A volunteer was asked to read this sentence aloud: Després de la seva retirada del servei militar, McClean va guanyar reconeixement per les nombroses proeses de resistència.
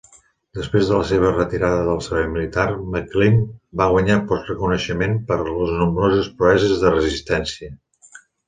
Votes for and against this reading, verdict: 2, 1, accepted